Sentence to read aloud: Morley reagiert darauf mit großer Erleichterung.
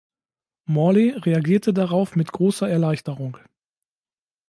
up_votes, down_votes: 1, 2